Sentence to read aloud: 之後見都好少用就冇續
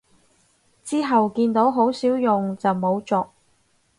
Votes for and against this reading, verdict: 2, 4, rejected